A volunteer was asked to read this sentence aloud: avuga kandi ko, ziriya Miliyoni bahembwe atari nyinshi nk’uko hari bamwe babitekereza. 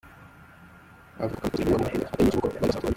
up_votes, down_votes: 0, 2